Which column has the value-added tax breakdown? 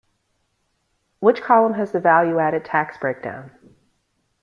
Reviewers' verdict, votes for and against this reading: accepted, 2, 0